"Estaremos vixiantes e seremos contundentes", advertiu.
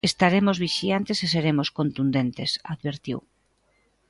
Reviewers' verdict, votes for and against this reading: accepted, 2, 0